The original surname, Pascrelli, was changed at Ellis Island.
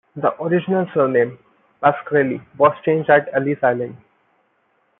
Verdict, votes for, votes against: accepted, 2, 0